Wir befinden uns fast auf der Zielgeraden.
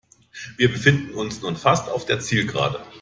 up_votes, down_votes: 0, 2